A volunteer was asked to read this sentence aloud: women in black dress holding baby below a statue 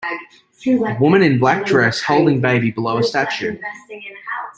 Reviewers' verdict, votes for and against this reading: rejected, 1, 2